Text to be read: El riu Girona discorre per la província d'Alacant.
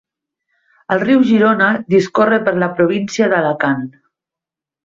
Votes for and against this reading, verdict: 2, 0, accepted